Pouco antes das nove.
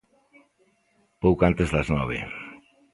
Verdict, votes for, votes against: accepted, 2, 0